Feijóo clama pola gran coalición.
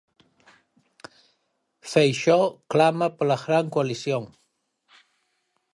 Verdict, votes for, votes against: rejected, 0, 4